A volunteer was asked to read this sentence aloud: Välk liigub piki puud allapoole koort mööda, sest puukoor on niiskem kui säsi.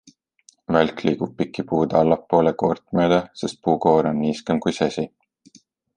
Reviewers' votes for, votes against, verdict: 2, 0, accepted